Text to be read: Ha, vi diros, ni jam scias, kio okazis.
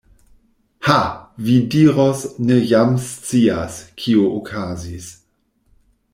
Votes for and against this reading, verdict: 1, 2, rejected